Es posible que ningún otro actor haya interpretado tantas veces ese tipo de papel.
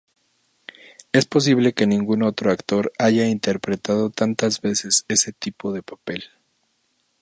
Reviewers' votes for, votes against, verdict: 2, 0, accepted